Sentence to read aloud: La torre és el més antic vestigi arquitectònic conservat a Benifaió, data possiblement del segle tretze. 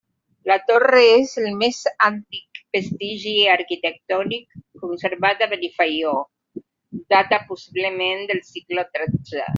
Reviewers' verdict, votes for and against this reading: rejected, 1, 2